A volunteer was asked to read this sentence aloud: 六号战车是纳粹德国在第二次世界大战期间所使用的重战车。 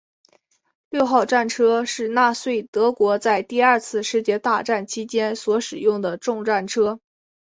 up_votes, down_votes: 10, 2